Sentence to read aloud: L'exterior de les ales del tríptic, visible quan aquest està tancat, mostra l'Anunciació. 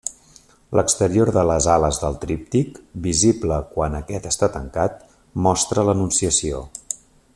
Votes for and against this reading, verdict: 3, 0, accepted